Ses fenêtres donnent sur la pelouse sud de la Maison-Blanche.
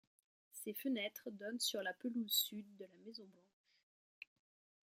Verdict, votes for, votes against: rejected, 1, 2